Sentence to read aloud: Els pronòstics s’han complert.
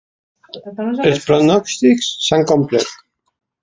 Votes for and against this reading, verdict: 2, 0, accepted